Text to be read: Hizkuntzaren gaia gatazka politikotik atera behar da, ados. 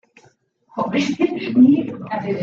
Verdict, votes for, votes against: rejected, 0, 2